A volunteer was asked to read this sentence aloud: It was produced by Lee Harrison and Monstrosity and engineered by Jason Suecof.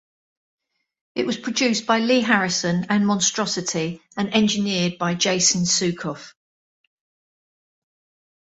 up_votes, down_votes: 2, 0